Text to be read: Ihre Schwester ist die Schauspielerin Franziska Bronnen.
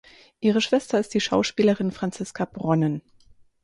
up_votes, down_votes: 4, 0